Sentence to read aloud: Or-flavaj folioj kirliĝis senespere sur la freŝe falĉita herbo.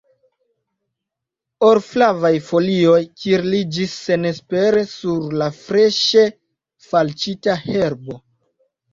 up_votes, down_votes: 0, 2